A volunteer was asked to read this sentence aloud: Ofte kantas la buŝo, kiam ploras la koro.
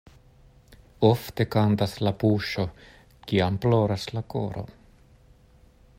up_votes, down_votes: 2, 0